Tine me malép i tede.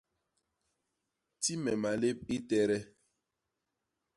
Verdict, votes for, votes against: rejected, 1, 2